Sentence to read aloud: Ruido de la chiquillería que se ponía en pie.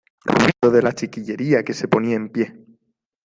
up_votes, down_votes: 0, 2